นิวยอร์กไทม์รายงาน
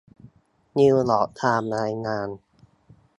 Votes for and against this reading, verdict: 2, 1, accepted